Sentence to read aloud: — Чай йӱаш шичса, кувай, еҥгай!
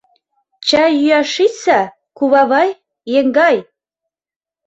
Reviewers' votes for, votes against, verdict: 0, 2, rejected